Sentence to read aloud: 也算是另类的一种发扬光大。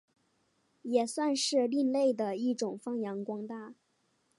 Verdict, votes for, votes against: accepted, 2, 0